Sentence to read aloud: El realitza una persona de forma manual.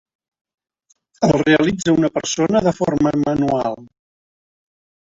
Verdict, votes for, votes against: accepted, 2, 0